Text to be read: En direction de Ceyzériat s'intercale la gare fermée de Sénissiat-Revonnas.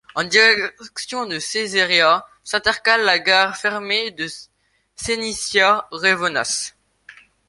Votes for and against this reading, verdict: 0, 2, rejected